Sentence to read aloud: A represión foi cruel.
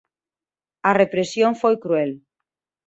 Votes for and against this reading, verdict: 2, 0, accepted